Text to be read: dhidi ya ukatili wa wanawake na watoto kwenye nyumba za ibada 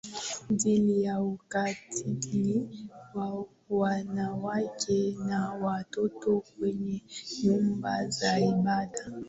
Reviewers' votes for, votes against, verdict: 3, 1, accepted